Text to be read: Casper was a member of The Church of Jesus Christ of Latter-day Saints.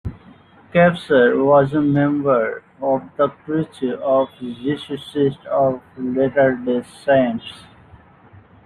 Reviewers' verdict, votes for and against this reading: rejected, 0, 2